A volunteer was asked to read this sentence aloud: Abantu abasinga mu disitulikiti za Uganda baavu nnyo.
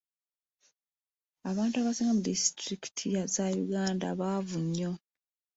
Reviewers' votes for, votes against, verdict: 2, 0, accepted